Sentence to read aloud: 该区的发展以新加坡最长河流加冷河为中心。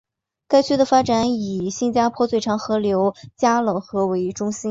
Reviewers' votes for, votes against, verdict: 2, 1, accepted